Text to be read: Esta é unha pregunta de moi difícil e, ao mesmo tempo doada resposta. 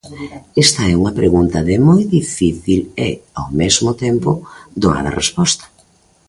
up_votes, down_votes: 2, 0